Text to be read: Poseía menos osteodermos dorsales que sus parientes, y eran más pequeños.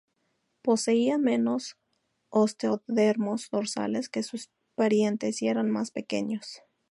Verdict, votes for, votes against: rejected, 0, 2